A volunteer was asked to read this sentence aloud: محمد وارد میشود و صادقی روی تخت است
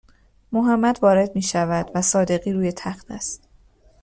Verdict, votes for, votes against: accepted, 2, 0